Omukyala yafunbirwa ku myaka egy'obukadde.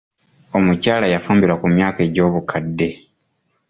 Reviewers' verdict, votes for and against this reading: accepted, 2, 0